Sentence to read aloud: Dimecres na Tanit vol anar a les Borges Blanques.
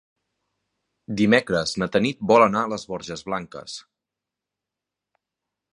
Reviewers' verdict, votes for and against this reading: accepted, 3, 0